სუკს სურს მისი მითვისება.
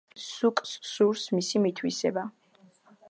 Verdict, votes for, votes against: accepted, 2, 0